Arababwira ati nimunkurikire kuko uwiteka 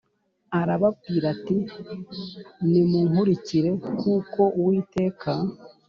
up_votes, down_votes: 7, 0